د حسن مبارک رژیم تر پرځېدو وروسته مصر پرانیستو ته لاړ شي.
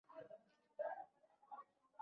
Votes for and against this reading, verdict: 1, 2, rejected